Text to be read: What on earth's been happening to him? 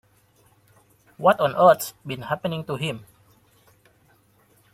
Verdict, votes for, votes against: accepted, 2, 0